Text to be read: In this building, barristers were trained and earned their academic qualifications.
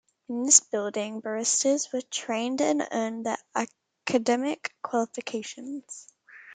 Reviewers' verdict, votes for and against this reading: rejected, 0, 2